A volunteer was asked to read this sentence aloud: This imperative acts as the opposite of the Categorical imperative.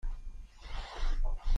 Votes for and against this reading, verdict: 0, 2, rejected